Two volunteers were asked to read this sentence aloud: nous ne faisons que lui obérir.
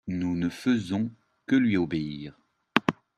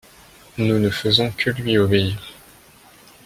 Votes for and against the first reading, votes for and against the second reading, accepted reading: 2, 1, 0, 2, first